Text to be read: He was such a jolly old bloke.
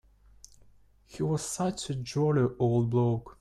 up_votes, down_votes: 1, 2